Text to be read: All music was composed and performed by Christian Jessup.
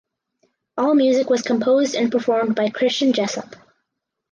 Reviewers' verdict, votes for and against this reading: accepted, 4, 0